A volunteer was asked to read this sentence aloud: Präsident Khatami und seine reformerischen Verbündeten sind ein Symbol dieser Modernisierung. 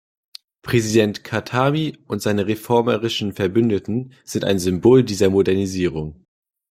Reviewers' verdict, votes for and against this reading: accepted, 2, 0